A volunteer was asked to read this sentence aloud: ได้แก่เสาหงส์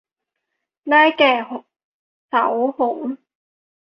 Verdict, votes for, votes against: rejected, 0, 2